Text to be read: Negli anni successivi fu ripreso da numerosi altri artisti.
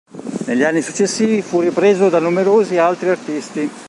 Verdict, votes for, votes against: rejected, 1, 2